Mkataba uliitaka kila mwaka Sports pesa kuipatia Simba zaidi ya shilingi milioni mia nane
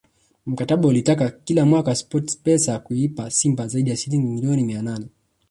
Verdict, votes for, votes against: rejected, 1, 4